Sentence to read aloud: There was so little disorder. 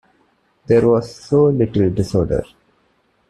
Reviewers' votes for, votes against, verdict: 2, 1, accepted